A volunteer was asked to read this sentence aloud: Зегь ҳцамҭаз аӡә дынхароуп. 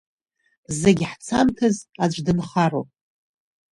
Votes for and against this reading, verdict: 0, 2, rejected